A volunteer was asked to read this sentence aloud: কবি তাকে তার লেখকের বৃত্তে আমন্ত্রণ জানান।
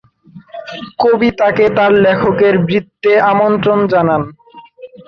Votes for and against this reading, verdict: 2, 0, accepted